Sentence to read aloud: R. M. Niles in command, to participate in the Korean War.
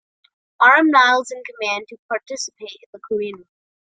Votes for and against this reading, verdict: 0, 3, rejected